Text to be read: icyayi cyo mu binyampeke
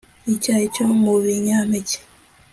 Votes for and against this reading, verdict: 2, 0, accepted